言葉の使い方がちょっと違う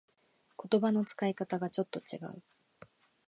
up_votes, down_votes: 2, 0